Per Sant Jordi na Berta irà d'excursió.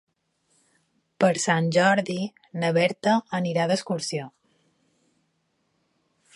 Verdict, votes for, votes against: rejected, 1, 2